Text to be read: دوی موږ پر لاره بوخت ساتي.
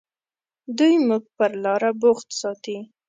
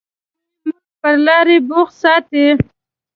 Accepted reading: first